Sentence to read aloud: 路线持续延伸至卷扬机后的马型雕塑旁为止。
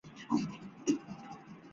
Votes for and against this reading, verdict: 0, 2, rejected